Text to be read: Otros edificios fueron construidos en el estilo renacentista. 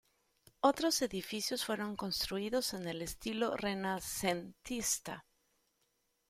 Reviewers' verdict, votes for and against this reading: rejected, 0, 2